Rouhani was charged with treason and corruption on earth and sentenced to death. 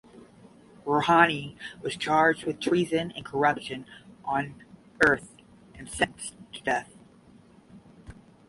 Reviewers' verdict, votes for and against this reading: rejected, 0, 10